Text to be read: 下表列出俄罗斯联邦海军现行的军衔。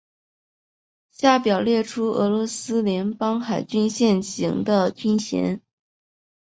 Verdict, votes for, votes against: accepted, 2, 1